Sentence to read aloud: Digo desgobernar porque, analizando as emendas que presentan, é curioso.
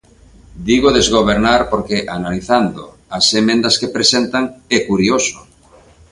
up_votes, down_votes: 2, 0